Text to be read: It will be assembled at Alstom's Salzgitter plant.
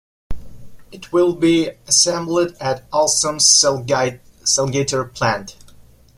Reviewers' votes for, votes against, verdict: 0, 2, rejected